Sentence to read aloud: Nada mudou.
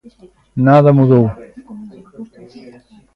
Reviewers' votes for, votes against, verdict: 2, 0, accepted